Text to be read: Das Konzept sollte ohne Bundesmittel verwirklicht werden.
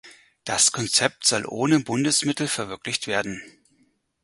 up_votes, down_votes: 0, 4